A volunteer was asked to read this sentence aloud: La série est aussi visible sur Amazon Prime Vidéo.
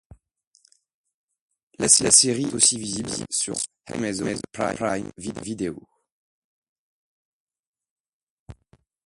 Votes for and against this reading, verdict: 1, 2, rejected